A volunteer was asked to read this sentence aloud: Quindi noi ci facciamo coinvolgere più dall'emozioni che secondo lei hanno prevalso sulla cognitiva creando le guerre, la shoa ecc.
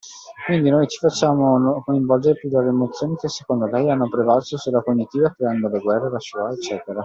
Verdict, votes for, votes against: accepted, 2, 0